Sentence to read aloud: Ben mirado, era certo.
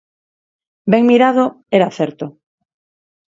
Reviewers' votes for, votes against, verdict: 4, 0, accepted